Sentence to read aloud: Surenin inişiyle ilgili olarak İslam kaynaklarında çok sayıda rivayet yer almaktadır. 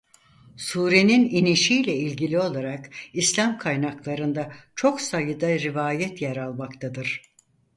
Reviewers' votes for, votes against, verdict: 4, 0, accepted